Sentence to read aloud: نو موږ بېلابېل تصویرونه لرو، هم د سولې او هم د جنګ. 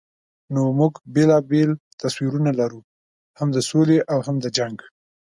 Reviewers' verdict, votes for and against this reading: accepted, 2, 0